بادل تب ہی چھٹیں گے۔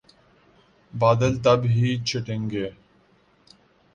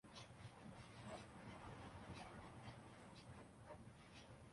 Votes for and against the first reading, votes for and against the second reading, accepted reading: 2, 0, 1, 2, first